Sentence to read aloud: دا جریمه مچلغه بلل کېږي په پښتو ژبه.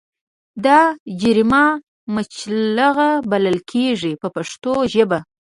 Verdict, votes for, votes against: rejected, 1, 2